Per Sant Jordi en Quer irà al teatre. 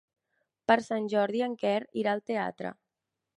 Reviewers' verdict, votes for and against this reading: accepted, 3, 0